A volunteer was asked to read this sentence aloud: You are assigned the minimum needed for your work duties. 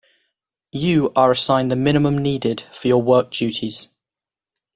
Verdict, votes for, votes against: accepted, 2, 0